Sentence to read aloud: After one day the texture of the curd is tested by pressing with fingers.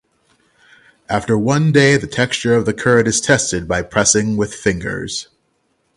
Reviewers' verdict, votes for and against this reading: accepted, 3, 0